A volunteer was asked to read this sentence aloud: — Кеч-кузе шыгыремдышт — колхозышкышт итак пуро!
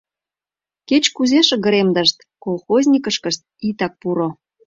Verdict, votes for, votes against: rejected, 1, 2